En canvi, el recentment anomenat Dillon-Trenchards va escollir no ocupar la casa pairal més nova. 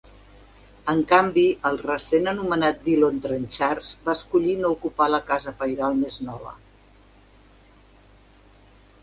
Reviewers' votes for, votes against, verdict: 1, 2, rejected